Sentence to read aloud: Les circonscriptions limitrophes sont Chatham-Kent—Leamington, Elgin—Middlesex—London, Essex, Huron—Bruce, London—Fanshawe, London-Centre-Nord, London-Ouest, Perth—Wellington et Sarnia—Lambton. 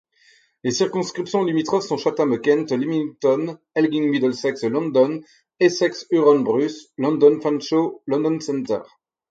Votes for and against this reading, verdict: 0, 4, rejected